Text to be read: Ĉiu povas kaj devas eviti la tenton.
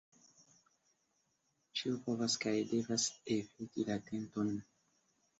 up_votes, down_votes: 0, 2